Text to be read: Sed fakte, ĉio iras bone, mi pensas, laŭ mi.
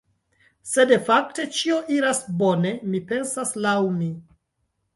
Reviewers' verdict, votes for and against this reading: rejected, 1, 2